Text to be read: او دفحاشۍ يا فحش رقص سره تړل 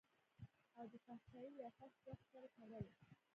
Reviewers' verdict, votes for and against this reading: accepted, 2, 0